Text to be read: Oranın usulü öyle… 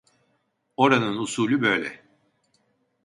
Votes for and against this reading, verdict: 1, 2, rejected